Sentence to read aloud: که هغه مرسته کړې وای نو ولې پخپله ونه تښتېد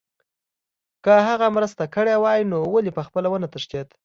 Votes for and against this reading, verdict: 2, 0, accepted